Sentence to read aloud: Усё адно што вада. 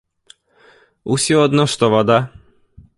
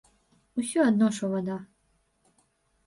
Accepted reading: first